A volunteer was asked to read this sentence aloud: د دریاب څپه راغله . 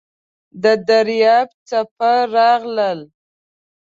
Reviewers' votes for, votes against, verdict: 0, 2, rejected